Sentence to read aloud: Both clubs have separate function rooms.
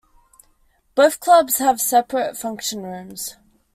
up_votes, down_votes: 2, 0